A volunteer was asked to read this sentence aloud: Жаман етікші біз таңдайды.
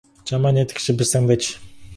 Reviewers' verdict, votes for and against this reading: accepted, 4, 2